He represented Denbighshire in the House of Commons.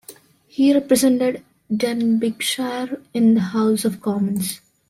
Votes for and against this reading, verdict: 2, 3, rejected